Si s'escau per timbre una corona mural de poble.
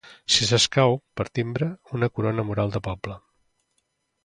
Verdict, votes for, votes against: accepted, 2, 0